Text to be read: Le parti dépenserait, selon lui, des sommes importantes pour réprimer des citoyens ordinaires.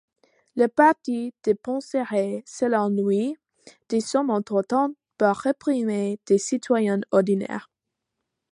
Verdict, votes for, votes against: accepted, 2, 0